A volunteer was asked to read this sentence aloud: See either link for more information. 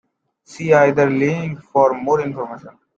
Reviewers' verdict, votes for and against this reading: accepted, 2, 1